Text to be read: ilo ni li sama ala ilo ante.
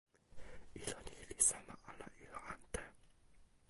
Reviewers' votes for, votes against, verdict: 1, 2, rejected